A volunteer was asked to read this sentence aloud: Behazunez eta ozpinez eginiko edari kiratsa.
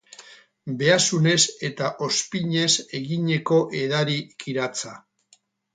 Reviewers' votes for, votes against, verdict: 2, 4, rejected